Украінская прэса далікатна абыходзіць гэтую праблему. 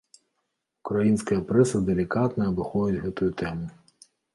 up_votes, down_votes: 1, 2